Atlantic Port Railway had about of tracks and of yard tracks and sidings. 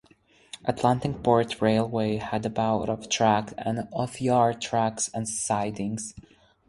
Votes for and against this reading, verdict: 4, 0, accepted